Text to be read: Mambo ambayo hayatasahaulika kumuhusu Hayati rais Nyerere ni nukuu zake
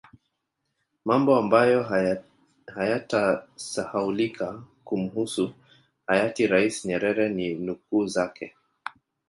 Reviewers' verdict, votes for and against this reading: rejected, 1, 2